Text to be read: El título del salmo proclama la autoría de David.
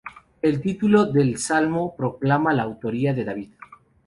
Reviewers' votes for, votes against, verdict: 6, 0, accepted